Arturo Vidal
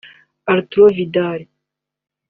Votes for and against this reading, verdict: 2, 1, accepted